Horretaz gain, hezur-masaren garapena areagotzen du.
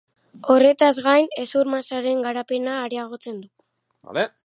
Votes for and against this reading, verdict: 1, 2, rejected